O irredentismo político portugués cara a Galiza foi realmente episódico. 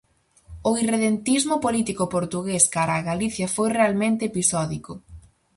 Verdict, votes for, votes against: rejected, 0, 4